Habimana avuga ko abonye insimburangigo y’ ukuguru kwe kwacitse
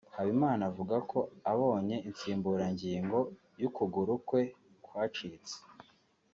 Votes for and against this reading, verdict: 2, 0, accepted